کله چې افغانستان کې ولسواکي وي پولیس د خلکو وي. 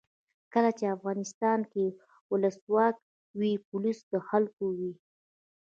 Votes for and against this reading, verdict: 2, 1, accepted